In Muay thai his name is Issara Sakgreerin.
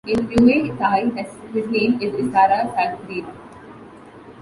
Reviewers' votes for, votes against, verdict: 0, 2, rejected